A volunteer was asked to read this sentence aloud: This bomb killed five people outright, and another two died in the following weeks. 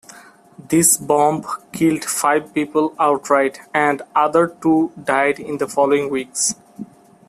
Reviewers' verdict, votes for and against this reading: accepted, 2, 1